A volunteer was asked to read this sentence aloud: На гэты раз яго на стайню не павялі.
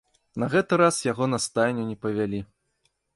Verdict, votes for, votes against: accepted, 2, 0